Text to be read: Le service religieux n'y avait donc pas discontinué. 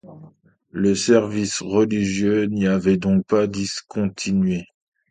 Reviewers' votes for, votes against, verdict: 2, 0, accepted